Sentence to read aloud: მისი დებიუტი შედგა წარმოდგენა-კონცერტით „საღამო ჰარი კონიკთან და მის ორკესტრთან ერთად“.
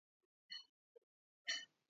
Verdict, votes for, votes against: rejected, 0, 2